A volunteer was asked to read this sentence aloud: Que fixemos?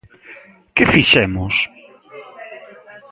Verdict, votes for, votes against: accepted, 2, 0